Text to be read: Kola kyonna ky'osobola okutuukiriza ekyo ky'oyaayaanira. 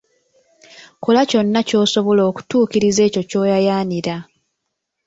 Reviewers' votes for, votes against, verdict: 0, 2, rejected